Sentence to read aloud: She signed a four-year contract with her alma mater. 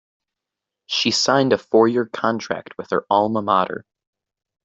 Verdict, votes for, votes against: accepted, 2, 0